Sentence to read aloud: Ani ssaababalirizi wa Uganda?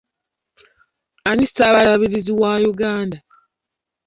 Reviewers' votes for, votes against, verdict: 2, 0, accepted